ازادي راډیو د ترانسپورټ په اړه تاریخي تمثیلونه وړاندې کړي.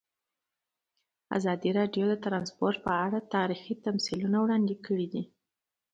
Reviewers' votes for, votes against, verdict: 2, 1, accepted